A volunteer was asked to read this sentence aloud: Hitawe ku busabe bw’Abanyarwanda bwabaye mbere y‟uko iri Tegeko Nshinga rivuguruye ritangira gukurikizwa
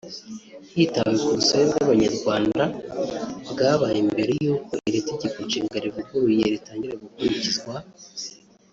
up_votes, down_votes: 1, 2